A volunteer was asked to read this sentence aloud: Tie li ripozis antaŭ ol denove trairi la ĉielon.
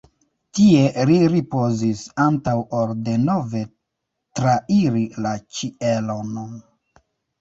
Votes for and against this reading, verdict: 0, 2, rejected